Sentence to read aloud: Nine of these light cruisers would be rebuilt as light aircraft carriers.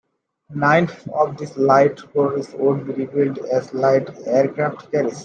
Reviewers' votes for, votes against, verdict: 2, 1, accepted